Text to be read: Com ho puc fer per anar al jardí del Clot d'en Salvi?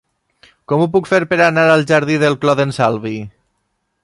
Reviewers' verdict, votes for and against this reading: accepted, 2, 0